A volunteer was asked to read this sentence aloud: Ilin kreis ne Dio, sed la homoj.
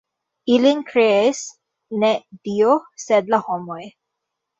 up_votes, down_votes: 1, 2